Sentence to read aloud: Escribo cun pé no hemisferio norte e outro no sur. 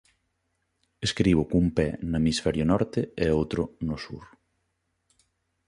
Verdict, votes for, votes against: accepted, 2, 0